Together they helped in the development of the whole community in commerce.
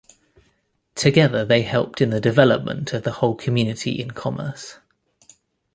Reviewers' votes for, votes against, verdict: 2, 0, accepted